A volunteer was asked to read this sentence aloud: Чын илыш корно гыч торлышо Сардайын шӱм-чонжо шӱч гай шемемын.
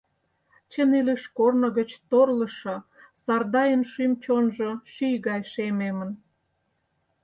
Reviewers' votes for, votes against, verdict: 2, 4, rejected